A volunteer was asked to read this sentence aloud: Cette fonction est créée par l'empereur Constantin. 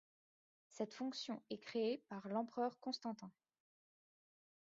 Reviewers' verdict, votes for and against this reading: accepted, 2, 0